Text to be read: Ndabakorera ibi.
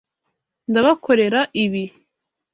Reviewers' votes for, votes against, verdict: 2, 0, accepted